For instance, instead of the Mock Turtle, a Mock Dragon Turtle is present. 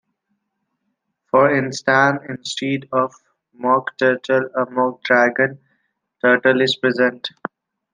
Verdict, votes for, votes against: rejected, 0, 2